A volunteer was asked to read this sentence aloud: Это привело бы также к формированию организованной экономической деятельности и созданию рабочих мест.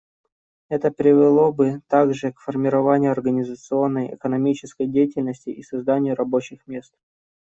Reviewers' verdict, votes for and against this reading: rejected, 0, 2